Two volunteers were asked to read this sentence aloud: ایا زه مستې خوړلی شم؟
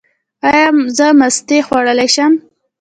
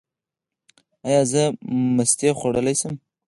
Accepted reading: second